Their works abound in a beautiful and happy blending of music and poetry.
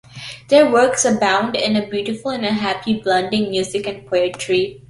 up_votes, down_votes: 2, 1